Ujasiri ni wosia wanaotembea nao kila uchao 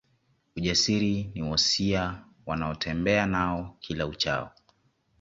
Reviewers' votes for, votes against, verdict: 2, 0, accepted